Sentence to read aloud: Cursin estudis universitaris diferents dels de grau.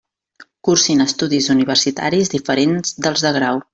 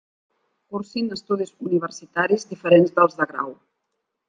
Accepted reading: first